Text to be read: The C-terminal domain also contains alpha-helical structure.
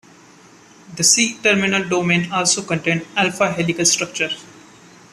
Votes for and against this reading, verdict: 2, 0, accepted